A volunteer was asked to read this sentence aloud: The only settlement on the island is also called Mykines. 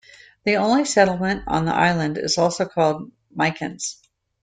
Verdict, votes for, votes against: accepted, 2, 0